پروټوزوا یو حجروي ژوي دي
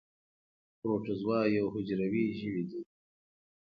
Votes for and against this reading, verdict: 2, 0, accepted